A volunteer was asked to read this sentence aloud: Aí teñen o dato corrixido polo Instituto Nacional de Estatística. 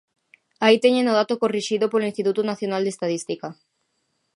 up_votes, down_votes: 0, 2